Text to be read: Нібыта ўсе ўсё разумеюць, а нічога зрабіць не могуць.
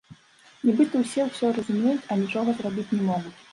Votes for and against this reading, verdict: 2, 0, accepted